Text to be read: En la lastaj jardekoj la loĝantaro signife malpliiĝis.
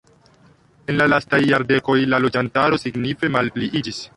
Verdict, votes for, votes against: rejected, 1, 2